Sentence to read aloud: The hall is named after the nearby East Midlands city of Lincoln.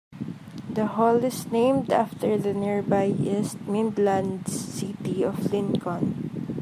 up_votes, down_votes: 2, 0